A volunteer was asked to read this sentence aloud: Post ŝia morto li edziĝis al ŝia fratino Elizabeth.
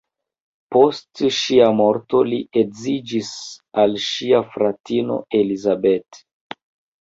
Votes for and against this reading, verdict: 1, 2, rejected